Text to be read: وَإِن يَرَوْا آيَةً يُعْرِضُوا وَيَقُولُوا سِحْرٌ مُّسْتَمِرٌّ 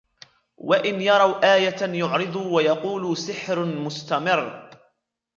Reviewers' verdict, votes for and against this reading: rejected, 1, 2